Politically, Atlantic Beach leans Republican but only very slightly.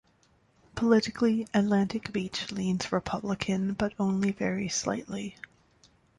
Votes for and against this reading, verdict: 2, 0, accepted